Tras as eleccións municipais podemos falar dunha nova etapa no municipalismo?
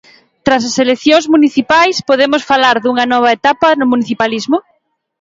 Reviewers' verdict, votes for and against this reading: accepted, 2, 0